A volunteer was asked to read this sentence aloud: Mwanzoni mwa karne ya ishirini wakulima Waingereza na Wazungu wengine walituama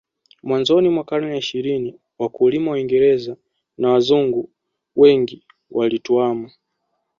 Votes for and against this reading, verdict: 1, 2, rejected